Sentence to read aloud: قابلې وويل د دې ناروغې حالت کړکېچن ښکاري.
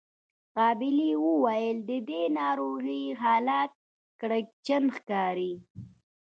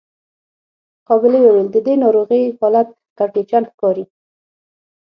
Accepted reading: second